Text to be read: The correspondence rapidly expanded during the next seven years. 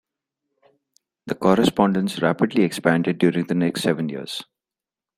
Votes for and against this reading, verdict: 2, 0, accepted